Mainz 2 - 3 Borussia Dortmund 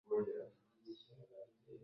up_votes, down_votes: 0, 2